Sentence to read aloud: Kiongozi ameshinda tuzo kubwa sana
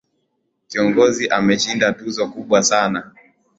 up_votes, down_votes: 1, 2